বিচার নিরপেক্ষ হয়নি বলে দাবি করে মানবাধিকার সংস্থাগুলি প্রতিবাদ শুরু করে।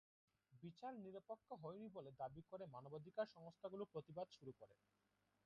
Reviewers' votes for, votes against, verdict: 1, 2, rejected